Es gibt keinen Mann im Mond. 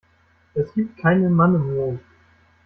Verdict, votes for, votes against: accepted, 2, 1